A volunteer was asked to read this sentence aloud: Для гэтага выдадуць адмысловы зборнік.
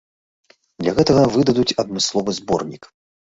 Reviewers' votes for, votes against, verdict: 2, 0, accepted